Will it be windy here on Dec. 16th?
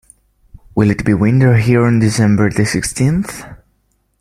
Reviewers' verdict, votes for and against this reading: rejected, 0, 2